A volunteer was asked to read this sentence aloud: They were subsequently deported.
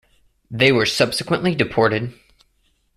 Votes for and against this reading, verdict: 2, 0, accepted